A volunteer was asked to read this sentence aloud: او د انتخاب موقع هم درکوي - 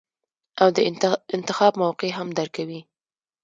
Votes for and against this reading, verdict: 0, 2, rejected